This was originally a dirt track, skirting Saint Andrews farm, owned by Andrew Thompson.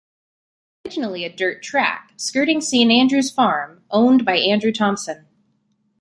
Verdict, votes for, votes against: rejected, 1, 2